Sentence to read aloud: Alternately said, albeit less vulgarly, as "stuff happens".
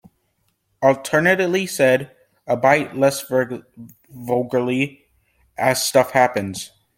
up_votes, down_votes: 0, 2